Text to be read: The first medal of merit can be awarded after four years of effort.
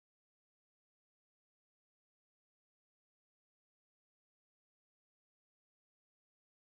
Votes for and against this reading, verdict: 0, 6, rejected